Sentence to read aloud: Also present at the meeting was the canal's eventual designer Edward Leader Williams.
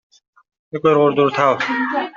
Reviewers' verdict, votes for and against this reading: rejected, 0, 2